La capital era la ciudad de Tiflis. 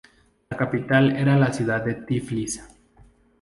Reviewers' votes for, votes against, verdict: 2, 0, accepted